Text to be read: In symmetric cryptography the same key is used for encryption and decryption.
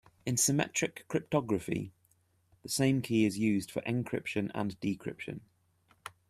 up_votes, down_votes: 2, 0